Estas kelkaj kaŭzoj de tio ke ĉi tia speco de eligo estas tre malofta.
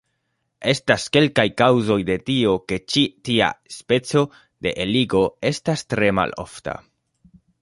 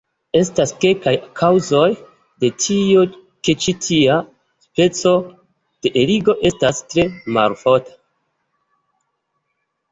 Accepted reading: first